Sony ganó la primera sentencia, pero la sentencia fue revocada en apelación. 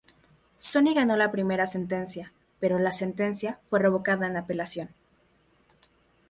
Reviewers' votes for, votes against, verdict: 2, 0, accepted